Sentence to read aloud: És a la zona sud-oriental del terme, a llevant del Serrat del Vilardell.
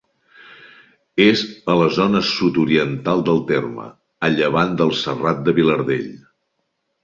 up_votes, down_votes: 1, 2